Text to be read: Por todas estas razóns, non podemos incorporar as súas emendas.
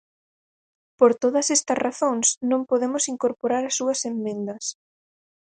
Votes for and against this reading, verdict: 0, 4, rejected